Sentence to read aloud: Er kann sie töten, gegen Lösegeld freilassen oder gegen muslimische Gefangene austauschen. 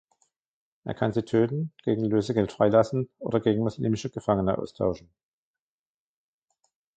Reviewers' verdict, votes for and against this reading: rejected, 1, 2